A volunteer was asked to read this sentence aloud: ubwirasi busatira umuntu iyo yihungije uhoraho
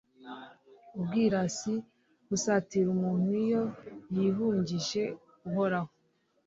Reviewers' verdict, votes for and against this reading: accepted, 2, 0